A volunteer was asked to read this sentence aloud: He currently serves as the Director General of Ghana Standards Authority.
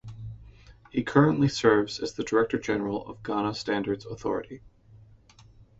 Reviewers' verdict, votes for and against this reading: rejected, 1, 2